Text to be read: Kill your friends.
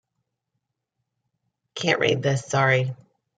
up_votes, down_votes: 0, 2